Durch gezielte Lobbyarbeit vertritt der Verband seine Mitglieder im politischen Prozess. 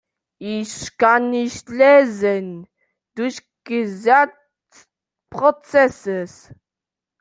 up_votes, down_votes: 0, 2